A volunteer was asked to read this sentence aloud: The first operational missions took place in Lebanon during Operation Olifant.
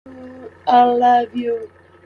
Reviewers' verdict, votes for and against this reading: rejected, 0, 2